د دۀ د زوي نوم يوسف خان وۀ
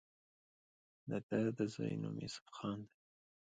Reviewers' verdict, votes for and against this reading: rejected, 1, 2